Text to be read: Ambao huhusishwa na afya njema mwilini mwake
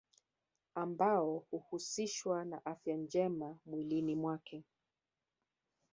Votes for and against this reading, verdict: 0, 2, rejected